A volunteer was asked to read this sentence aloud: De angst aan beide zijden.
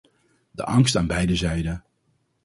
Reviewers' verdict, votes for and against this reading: accepted, 4, 0